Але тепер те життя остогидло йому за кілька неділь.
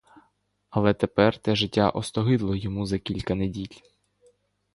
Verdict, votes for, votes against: accepted, 2, 0